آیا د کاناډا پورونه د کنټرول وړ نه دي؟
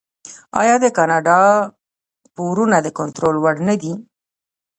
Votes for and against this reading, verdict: 3, 0, accepted